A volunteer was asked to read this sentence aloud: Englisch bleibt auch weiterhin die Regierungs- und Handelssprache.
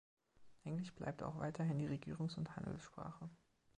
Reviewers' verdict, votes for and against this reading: accepted, 2, 0